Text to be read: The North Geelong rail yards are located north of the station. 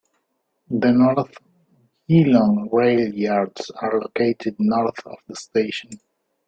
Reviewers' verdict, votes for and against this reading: accepted, 2, 0